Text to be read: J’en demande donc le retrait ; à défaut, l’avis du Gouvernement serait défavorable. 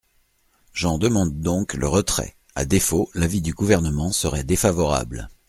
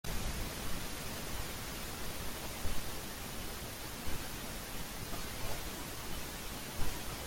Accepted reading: first